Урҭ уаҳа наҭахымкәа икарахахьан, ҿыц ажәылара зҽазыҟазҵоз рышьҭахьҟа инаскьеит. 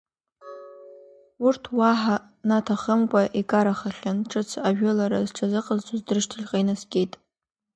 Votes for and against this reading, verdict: 2, 0, accepted